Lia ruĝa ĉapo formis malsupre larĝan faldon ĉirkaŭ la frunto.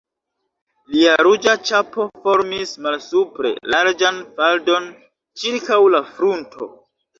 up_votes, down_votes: 3, 1